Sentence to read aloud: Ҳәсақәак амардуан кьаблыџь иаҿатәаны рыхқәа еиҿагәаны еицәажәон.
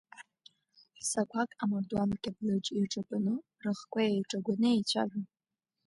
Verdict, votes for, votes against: accepted, 2, 0